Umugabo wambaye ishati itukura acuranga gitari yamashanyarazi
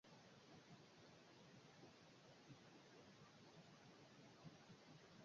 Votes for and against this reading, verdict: 0, 2, rejected